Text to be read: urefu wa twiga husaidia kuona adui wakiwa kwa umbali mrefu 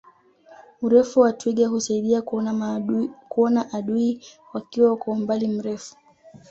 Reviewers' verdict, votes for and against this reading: accepted, 2, 1